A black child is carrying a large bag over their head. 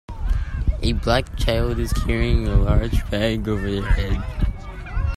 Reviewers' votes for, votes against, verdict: 0, 2, rejected